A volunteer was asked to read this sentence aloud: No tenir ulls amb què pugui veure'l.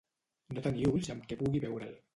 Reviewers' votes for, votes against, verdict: 0, 2, rejected